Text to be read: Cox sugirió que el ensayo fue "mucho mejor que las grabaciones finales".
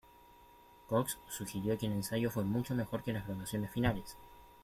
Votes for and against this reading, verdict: 0, 2, rejected